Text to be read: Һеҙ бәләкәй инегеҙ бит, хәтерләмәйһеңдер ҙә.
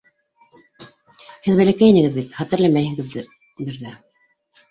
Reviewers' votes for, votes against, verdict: 0, 2, rejected